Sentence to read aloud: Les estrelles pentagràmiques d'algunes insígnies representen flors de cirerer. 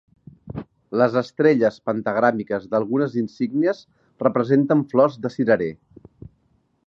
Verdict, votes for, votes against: accepted, 3, 0